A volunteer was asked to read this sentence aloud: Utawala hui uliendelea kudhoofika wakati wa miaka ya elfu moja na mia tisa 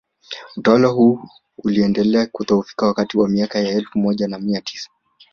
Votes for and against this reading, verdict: 2, 1, accepted